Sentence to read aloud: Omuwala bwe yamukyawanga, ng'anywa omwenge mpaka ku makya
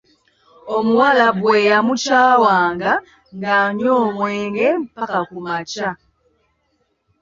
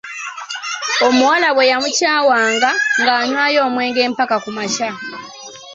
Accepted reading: second